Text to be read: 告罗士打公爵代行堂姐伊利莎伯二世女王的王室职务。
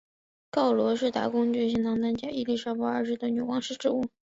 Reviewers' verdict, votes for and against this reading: accepted, 2, 1